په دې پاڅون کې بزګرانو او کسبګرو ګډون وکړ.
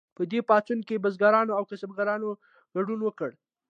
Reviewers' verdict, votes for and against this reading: accepted, 2, 0